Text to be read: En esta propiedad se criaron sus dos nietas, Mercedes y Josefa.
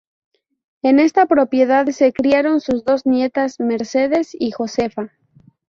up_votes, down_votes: 0, 2